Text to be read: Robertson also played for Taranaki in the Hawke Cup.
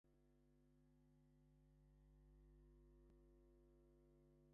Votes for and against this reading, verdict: 0, 2, rejected